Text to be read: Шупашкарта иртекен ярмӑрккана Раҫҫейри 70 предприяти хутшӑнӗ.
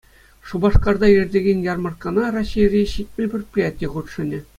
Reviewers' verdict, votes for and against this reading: rejected, 0, 2